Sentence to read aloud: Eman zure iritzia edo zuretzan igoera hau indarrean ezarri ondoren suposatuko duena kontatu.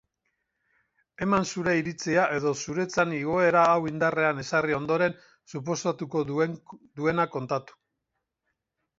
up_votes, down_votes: 2, 4